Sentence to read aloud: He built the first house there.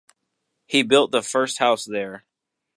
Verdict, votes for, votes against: accepted, 2, 0